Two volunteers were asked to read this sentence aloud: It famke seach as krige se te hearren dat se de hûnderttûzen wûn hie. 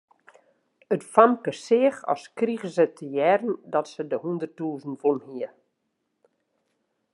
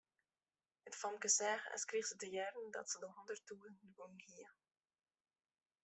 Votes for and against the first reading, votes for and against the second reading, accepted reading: 2, 0, 1, 2, first